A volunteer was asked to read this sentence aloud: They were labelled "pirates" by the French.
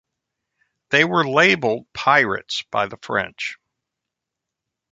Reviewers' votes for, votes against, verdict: 2, 0, accepted